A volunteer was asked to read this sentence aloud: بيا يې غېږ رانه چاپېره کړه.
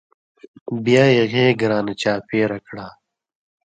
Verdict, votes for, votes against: rejected, 0, 2